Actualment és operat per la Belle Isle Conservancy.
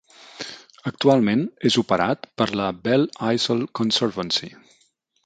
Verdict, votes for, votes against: accepted, 3, 0